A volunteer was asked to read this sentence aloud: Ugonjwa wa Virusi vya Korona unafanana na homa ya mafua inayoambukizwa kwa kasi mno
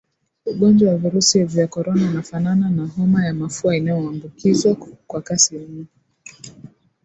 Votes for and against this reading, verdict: 0, 2, rejected